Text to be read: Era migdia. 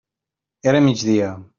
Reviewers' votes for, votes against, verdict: 3, 0, accepted